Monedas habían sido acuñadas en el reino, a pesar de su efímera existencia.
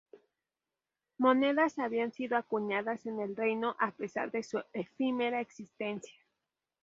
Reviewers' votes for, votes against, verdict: 0, 2, rejected